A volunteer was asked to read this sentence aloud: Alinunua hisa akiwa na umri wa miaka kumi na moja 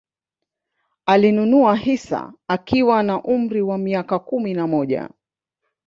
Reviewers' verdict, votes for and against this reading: rejected, 1, 2